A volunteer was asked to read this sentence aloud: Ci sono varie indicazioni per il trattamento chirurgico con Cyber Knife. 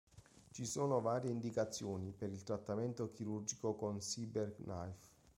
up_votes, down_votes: 2, 1